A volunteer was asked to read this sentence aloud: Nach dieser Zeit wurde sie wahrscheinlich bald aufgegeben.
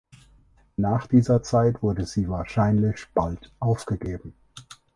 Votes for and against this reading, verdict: 2, 4, rejected